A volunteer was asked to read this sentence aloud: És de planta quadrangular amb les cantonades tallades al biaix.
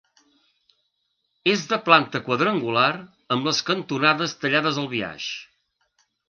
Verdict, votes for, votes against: accepted, 2, 0